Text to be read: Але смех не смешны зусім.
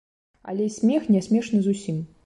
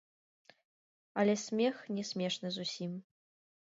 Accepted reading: first